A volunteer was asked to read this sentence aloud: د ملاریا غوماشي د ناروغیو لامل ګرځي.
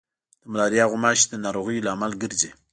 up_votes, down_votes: 0, 2